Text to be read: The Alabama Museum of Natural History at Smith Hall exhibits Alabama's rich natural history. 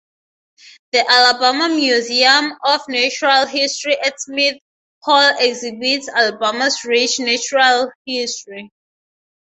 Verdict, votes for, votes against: rejected, 0, 3